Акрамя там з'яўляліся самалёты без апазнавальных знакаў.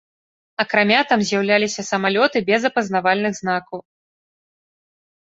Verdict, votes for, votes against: accepted, 3, 0